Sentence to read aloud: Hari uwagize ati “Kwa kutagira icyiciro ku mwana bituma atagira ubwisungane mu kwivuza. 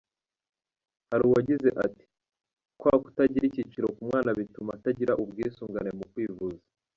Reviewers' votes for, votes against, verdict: 1, 2, rejected